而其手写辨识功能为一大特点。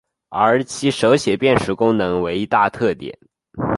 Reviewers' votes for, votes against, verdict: 3, 1, accepted